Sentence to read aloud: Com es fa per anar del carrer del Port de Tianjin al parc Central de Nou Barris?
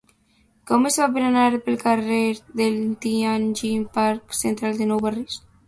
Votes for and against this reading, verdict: 0, 2, rejected